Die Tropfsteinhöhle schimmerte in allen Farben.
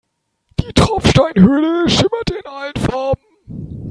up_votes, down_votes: 1, 3